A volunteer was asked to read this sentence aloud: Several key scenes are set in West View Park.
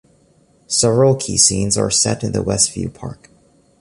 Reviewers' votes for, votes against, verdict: 2, 1, accepted